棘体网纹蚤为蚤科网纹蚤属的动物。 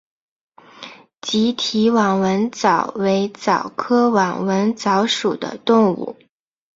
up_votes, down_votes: 2, 0